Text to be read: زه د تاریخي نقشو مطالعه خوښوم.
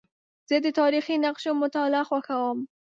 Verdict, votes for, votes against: accepted, 2, 0